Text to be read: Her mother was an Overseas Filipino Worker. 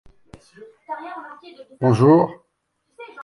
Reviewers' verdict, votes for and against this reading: rejected, 0, 2